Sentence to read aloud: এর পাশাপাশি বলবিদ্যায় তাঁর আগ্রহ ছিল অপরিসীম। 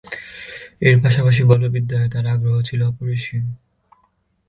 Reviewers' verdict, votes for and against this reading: accepted, 2, 0